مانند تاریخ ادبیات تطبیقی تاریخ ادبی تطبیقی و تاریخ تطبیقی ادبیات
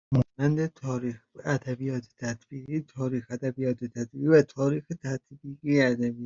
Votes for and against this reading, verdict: 0, 2, rejected